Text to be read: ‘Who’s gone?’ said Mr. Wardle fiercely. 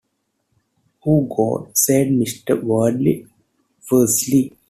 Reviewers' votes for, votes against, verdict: 0, 2, rejected